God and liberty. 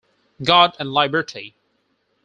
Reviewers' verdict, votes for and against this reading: rejected, 0, 4